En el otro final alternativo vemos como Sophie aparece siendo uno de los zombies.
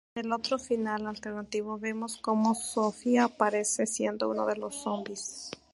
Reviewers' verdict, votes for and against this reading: accepted, 2, 0